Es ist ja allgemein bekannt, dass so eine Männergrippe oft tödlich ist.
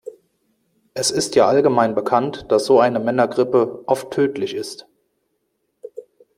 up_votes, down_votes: 2, 0